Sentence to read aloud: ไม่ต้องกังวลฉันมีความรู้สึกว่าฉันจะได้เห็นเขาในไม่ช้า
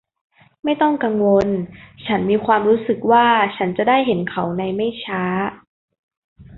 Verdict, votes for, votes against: accepted, 2, 0